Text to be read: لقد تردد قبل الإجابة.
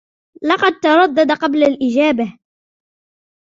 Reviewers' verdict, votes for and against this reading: rejected, 0, 2